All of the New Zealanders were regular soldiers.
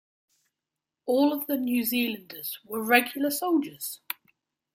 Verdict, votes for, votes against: accepted, 2, 0